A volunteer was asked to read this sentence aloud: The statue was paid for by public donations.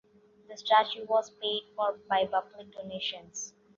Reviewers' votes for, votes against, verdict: 2, 0, accepted